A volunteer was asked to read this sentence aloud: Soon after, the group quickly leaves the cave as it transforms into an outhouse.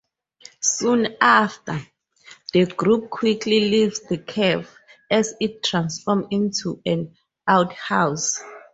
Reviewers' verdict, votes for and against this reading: rejected, 2, 2